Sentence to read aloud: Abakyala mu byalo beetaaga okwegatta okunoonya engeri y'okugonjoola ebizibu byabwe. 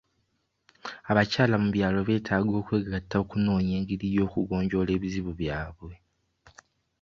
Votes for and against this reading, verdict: 2, 0, accepted